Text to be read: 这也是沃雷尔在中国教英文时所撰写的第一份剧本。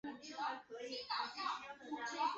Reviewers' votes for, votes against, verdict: 0, 3, rejected